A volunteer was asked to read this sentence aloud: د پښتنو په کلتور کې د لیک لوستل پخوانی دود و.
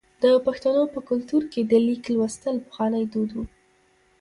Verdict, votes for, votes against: accepted, 2, 0